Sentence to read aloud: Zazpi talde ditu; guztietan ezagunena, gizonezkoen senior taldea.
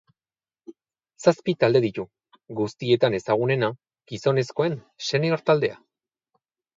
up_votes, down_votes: 2, 0